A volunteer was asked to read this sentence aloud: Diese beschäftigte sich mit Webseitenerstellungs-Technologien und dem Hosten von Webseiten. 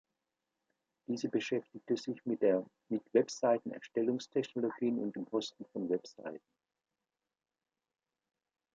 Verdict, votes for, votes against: rejected, 1, 2